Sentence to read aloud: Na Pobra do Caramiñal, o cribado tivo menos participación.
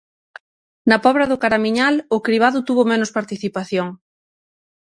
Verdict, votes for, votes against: rejected, 3, 6